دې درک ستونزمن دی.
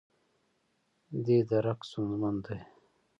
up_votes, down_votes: 2, 0